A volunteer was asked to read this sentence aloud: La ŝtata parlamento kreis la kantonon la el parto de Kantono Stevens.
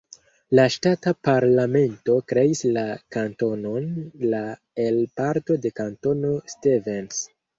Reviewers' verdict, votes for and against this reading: accepted, 2, 0